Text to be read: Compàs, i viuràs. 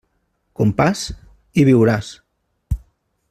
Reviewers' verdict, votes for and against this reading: accepted, 2, 0